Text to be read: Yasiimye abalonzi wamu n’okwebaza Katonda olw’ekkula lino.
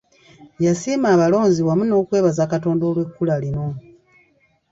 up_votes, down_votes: 1, 2